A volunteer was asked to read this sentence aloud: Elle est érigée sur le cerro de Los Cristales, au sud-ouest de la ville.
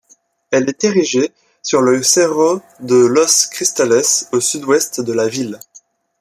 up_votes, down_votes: 2, 0